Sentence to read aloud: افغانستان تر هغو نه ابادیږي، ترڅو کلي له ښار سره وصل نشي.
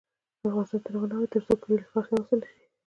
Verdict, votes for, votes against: rejected, 1, 2